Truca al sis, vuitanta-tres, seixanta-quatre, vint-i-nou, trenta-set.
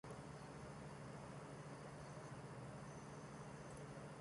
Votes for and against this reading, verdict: 1, 2, rejected